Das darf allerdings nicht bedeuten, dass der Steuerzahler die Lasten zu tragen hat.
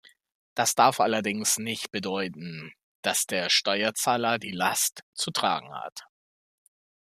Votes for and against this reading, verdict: 1, 2, rejected